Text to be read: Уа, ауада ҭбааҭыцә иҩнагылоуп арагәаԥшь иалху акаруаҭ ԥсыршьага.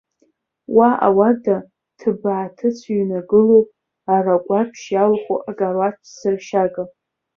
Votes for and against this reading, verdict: 2, 3, rejected